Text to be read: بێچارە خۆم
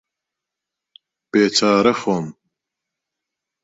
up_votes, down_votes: 2, 0